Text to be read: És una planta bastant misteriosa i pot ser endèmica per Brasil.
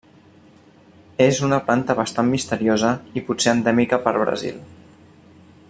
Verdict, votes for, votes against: accepted, 2, 0